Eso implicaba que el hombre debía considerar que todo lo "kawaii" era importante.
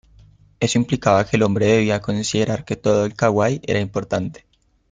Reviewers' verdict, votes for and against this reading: rejected, 1, 2